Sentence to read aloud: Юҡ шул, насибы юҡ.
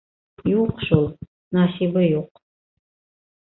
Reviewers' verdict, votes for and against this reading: accepted, 2, 0